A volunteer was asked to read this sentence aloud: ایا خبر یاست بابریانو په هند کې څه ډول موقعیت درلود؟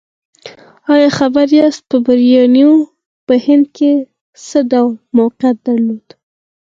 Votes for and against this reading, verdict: 4, 0, accepted